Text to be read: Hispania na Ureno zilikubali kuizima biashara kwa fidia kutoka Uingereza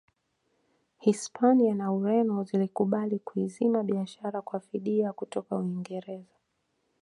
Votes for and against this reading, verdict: 2, 0, accepted